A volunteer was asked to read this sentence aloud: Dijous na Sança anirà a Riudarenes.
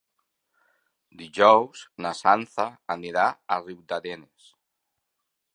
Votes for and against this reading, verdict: 0, 2, rejected